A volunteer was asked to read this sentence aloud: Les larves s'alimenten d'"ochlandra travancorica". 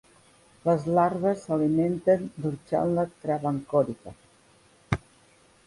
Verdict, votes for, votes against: accepted, 2, 0